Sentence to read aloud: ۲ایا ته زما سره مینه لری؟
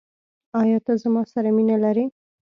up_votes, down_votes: 0, 2